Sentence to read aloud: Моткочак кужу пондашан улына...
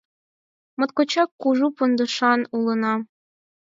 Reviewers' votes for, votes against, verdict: 4, 0, accepted